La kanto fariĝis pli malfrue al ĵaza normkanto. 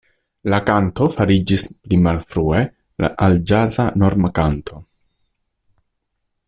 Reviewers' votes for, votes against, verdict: 0, 2, rejected